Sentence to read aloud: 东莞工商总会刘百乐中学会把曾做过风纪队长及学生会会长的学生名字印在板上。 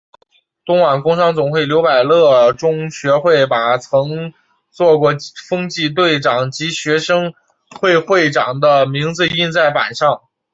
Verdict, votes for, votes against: accepted, 3, 1